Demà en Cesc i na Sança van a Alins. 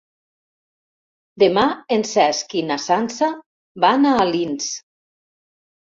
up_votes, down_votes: 3, 0